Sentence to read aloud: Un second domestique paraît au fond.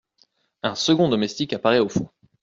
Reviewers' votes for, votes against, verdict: 0, 2, rejected